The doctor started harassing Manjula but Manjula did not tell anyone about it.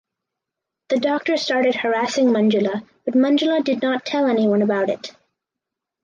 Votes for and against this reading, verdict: 4, 2, accepted